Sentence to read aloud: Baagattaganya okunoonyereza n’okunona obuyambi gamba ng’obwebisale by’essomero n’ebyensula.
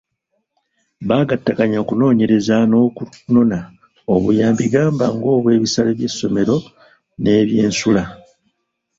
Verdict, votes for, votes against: accepted, 2, 1